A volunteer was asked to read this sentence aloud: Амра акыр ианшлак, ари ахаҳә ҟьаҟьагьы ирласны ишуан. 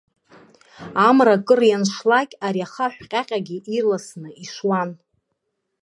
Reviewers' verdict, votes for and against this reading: accepted, 2, 1